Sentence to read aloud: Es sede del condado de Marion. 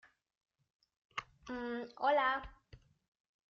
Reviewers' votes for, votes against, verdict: 0, 2, rejected